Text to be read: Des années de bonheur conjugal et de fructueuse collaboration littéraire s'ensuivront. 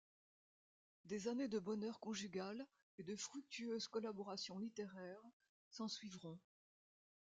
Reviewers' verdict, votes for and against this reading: accepted, 2, 0